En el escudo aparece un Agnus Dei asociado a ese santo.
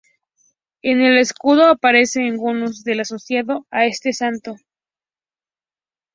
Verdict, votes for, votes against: rejected, 0, 4